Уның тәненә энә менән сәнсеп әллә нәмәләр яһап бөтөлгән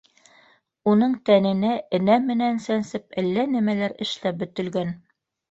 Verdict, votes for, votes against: rejected, 0, 2